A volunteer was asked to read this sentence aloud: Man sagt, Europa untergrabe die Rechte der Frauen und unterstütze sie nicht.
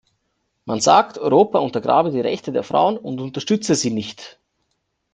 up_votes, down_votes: 2, 0